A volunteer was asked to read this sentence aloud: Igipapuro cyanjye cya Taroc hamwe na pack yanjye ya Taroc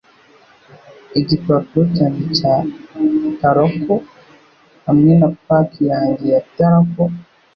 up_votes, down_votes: 2, 0